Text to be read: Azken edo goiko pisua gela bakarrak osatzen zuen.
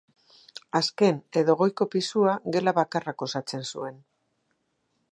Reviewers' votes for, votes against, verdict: 2, 0, accepted